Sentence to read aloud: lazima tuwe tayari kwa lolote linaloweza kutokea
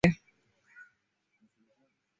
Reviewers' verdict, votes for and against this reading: rejected, 0, 2